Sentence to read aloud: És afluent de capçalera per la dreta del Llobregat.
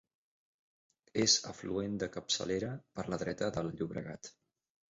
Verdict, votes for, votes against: accepted, 2, 0